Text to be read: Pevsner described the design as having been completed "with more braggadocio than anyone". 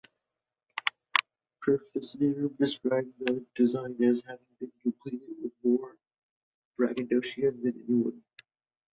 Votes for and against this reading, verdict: 0, 2, rejected